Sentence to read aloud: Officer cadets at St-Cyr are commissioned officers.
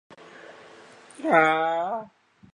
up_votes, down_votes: 0, 2